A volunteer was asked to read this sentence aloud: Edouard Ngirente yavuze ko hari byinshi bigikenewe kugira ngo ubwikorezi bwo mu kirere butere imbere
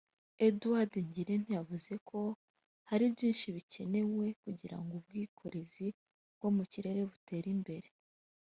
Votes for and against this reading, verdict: 1, 2, rejected